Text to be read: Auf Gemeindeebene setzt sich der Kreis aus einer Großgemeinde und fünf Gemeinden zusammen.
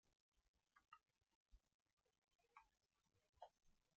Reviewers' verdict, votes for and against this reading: rejected, 0, 2